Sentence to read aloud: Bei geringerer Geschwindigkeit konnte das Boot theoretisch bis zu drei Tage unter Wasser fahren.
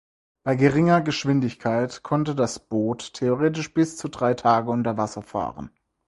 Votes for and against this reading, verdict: 2, 6, rejected